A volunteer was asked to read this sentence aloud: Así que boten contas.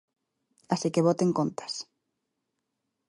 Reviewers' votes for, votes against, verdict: 2, 0, accepted